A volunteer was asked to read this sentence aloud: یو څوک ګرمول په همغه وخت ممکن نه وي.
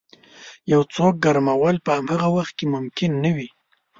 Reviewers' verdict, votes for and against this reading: rejected, 1, 2